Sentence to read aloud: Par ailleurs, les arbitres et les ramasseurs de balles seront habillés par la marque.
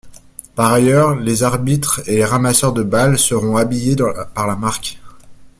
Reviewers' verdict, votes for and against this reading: rejected, 1, 2